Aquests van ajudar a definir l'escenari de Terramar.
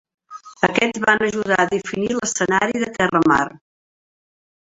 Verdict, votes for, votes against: rejected, 1, 2